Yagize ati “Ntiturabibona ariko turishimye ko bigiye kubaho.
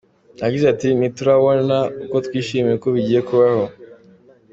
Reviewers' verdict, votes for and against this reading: accepted, 2, 0